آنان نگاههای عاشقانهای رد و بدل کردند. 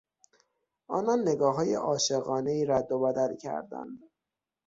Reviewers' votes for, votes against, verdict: 6, 0, accepted